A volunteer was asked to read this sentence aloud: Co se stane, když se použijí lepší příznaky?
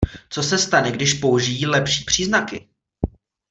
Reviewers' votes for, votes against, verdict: 1, 2, rejected